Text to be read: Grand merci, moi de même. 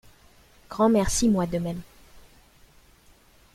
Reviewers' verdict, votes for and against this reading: accepted, 2, 0